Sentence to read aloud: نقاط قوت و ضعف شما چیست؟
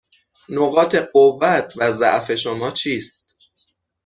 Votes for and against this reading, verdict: 6, 0, accepted